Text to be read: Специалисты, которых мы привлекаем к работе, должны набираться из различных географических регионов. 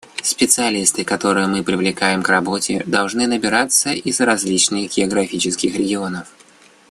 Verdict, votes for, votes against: rejected, 0, 2